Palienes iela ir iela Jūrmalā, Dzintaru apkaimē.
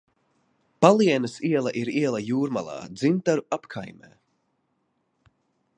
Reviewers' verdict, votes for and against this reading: accepted, 2, 0